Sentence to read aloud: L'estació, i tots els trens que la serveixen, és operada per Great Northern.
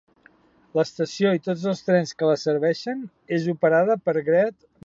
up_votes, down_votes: 1, 2